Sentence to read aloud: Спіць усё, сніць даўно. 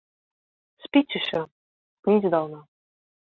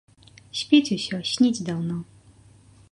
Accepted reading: second